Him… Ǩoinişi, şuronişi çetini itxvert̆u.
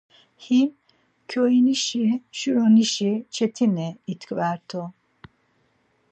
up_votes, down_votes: 2, 4